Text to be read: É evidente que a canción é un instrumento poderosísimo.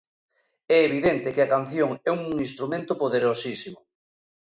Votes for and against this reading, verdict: 2, 0, accepted